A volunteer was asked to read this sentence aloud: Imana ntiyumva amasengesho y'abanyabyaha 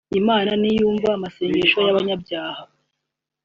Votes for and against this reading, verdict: 2, 0, accepted